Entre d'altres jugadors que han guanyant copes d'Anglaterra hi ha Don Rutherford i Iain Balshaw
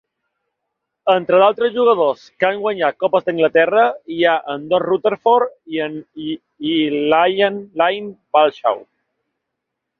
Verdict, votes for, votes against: rejected, 0, 3